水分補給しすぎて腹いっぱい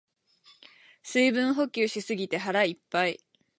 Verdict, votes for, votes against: accepted, 4, 0